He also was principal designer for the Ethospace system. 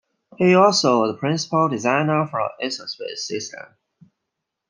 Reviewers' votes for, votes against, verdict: 1, 2, rejected